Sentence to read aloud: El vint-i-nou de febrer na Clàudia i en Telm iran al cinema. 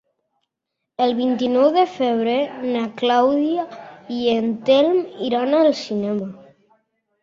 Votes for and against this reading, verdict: 2, 0, accepted